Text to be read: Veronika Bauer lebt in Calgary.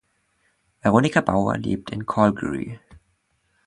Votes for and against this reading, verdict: 2, 0, accepted